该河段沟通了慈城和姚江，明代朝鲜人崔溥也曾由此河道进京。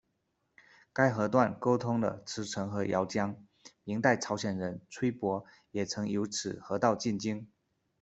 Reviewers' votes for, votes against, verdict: 2, 0, accepted